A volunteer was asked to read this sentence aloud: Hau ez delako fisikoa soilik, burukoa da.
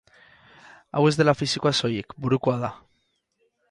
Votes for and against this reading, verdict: 2, 2, rejected